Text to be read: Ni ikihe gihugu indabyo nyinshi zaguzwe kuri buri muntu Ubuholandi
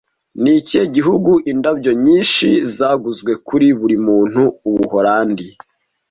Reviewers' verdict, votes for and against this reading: accepted, 2, 0